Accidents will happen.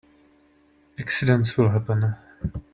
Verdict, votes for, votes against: accepted, 2, 1